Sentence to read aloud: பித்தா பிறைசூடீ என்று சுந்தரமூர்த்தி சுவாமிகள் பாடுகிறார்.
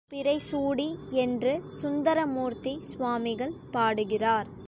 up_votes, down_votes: 0, 2